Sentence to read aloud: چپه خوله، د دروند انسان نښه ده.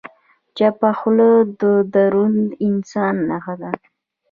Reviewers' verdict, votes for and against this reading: rejected, 1, 2